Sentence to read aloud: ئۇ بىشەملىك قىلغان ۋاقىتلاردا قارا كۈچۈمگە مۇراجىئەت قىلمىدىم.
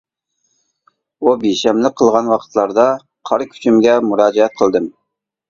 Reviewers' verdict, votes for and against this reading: rejected, 0, 2